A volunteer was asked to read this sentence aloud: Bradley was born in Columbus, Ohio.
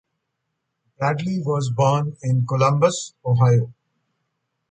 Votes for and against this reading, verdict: 2, 0, accepted